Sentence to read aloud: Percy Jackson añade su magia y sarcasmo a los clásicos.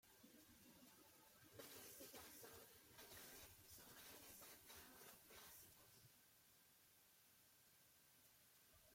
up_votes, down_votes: 0, 2